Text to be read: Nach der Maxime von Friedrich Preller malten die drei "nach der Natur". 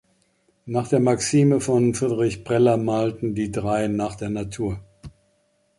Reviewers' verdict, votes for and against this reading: accepted, 2, 0